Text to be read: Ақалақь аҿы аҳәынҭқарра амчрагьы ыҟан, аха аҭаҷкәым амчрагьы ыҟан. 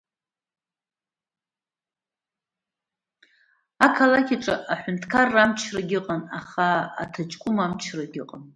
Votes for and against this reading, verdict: 1, 2, rejected